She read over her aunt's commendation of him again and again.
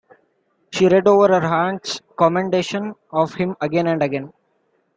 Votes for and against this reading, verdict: 2, 0, accepted